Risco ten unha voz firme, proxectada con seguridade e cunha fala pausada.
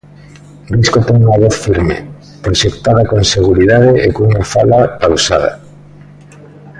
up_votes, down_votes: 2, 0